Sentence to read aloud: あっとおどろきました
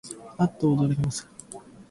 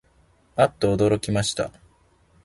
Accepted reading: second